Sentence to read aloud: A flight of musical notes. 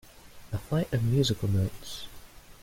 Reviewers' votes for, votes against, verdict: 2, 0, accepted